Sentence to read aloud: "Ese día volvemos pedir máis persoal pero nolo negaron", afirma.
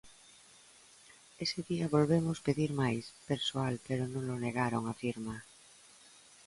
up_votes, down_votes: 2, 0